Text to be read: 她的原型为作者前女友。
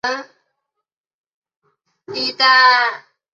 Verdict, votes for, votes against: rejected, 1, 2